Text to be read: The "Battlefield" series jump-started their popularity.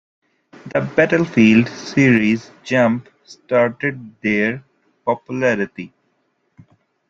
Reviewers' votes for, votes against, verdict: 3, 0, accepted